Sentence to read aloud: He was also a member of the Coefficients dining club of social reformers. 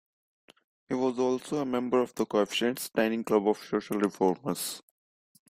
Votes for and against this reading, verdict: 2, 0, accepted